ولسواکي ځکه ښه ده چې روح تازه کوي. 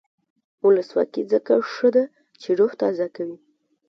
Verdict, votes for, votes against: accepted, 2, 0